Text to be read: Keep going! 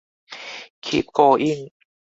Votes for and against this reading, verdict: 4, 0, accepted